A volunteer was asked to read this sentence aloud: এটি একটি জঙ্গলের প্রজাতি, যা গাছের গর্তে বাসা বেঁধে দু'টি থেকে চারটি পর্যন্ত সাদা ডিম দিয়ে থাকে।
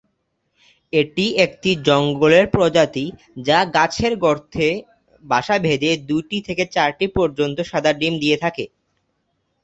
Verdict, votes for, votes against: accepted, 2, 0